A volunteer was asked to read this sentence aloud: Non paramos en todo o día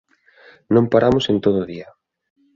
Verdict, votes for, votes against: accepted, 2, 0